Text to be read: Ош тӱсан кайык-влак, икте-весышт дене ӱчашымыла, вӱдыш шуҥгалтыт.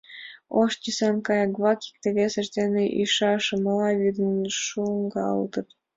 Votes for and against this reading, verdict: 0, 2, rejected